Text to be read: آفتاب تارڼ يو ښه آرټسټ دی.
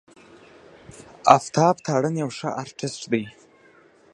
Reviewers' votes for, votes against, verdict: 1, 2, rejected